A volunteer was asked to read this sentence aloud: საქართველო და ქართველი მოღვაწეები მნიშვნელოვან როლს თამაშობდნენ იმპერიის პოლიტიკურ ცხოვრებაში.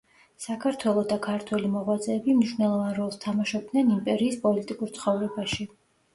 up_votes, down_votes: 2, 0